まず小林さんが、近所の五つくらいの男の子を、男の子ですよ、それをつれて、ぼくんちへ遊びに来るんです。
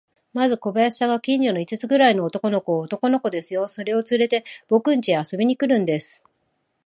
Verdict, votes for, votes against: accepted, 2, 0